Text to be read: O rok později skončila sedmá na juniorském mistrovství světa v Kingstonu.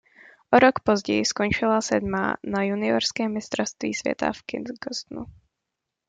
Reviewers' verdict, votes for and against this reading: rejected, 0, 2